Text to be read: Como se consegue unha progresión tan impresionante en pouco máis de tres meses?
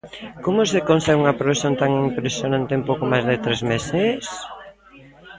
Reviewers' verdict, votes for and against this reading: rejected, 1, 2